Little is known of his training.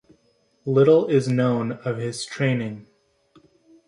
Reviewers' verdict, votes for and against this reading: accepted, 2, 0